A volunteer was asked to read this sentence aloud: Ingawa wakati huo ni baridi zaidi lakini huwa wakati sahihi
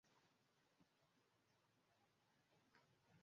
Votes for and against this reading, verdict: 0, 2, rejected